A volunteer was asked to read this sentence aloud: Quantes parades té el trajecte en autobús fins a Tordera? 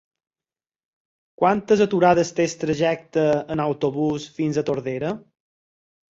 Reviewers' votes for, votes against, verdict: 0, 4, rejected